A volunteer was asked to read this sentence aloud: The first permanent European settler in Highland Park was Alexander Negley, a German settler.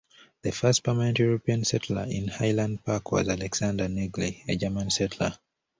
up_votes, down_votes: 2, 0